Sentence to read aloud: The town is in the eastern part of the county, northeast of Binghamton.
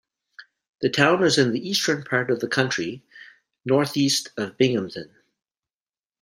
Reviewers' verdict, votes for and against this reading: rejected, 0, 2